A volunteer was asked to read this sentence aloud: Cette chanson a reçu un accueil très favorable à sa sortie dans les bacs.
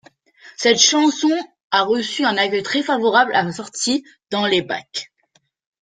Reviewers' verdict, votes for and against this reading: rejected, 0, 2